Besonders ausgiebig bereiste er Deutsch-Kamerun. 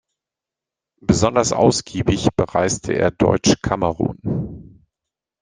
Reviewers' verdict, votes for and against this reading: accepted, 2, 1